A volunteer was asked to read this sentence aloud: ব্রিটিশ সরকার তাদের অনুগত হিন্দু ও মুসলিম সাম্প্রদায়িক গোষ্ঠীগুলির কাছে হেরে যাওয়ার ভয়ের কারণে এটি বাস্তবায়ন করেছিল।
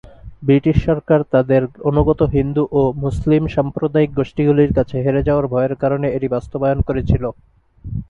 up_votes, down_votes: 2, 0